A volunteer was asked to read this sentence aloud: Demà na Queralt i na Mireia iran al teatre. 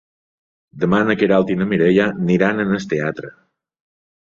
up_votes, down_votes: 1, 2